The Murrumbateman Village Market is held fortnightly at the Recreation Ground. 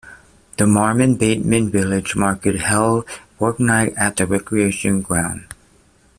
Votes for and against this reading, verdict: 0, 2, rejected